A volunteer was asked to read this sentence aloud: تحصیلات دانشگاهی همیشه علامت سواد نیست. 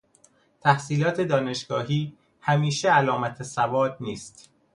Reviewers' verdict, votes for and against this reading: accepted, 2, 0